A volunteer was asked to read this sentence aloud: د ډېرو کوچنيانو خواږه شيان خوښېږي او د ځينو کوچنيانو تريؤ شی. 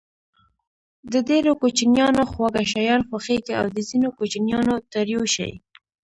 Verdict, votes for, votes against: accepted, 2, 0